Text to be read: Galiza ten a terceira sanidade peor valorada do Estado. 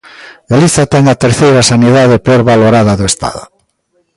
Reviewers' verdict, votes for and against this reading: rejected, 1, 2